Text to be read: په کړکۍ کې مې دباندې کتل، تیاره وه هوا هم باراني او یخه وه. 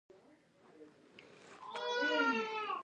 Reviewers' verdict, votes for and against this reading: rejected, 1, 2